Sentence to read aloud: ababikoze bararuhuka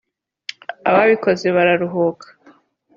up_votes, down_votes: 2, 0